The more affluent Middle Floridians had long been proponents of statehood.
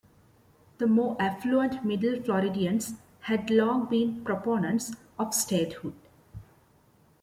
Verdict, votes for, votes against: accepted, 2, 0